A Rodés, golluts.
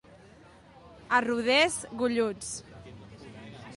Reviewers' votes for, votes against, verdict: 2, 0, accepted